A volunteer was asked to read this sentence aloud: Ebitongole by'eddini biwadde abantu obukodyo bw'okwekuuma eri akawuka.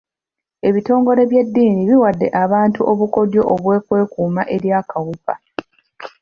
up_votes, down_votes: 3, 1